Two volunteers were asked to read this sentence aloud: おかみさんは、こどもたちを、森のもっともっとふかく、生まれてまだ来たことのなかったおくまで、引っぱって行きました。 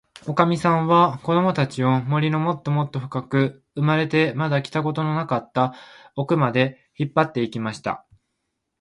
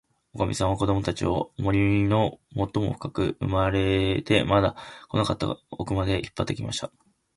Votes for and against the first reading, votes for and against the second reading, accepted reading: 2, 0, 1, 2, first